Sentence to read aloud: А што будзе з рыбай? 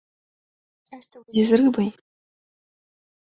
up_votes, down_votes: 0, 2